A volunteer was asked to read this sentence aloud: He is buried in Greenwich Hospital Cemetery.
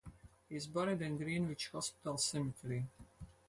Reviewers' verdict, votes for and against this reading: accepted, 4, 0